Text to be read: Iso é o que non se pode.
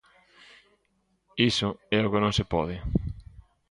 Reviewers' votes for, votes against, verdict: 2, 0, accepted